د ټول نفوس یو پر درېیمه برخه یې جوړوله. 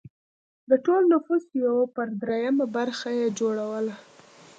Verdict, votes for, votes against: accepted, 2, 0